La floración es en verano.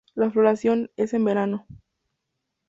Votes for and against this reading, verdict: 2, 2, rejected